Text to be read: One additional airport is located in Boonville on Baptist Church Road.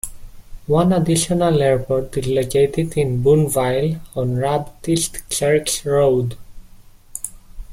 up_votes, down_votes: 0, 2